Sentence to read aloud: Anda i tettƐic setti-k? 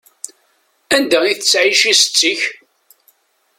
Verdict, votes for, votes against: accepted, 2, 0